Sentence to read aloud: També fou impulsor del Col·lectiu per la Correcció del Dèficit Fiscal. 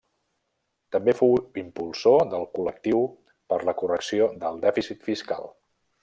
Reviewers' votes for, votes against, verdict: 3, 0, accepted